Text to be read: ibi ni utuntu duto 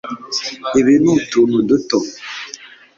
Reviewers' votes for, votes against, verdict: 2, 0, accepted